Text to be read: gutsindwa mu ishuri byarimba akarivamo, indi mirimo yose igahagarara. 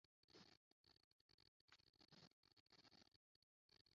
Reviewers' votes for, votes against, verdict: 0, 2, rejected